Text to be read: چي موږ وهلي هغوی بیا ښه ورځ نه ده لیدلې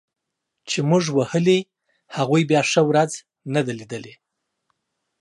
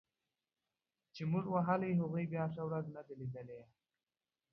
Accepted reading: first